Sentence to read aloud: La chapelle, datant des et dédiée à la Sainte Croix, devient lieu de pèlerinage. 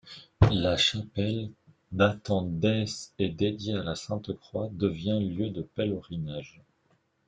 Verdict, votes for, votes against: rejected, 1, 2